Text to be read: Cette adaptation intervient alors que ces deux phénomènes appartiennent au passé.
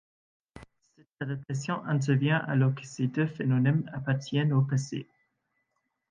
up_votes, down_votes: 2, 0